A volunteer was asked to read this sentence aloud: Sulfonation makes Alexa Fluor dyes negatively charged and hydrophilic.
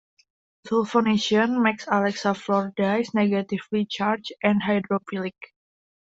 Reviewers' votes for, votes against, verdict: 2, 1, accepted